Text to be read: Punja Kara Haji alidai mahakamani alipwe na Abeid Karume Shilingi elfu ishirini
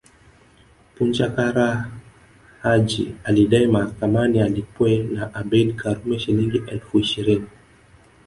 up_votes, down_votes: 0, 2